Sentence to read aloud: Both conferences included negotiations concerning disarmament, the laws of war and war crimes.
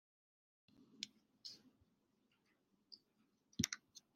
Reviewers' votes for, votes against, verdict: 0, 2, rejected